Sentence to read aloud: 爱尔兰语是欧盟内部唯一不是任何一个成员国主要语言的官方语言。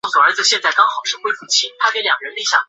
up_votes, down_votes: 0, 2